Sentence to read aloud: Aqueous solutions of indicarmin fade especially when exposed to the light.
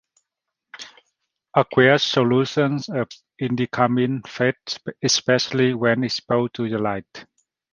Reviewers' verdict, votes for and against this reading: rejected, 0, 2